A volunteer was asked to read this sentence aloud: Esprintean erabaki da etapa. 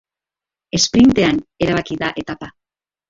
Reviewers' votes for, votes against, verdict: 2, 0, accepted